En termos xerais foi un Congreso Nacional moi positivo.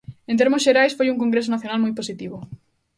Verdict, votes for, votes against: accepted, 2, 0